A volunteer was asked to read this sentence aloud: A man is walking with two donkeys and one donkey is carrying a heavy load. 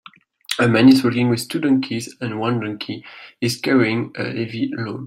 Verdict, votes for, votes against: accepted, 2, 0